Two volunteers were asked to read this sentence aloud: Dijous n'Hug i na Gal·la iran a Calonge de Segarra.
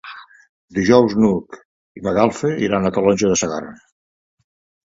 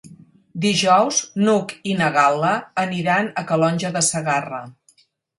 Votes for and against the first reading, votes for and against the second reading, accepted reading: 2, 0, 0, 4, first